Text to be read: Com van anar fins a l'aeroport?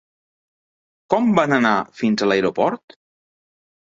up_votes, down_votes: 4, 0